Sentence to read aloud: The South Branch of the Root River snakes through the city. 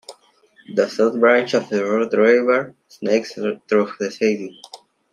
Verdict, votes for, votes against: accepted, 3, 2